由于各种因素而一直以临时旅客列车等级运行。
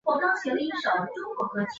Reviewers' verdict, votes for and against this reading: rejected, 1, 2